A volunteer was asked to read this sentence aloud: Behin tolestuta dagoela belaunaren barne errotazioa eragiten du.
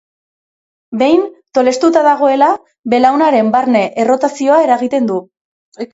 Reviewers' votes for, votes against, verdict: 3, 0, accepted